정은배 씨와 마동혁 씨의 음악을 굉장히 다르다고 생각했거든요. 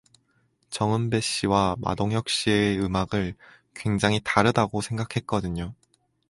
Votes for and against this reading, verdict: 4, 0, accepted